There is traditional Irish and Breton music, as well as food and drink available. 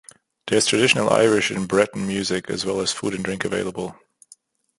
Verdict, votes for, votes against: rejected, 1, 2